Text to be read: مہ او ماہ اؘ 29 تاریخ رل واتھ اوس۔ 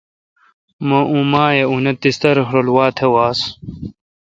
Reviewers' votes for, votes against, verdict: 0, 2, rejected